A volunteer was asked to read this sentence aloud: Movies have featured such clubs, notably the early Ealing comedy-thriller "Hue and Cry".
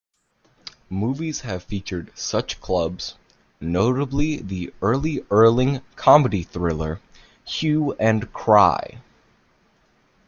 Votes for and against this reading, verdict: 1, 2, rejected